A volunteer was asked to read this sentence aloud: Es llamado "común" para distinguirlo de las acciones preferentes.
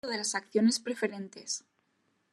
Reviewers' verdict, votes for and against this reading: rejected, 0, 2